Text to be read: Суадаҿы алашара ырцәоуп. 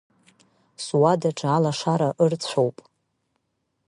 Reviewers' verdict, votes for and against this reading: accepted, 2, 0